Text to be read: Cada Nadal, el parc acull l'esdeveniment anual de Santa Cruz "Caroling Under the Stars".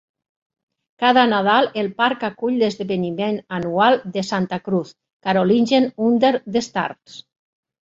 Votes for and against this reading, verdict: 0, 2, rejected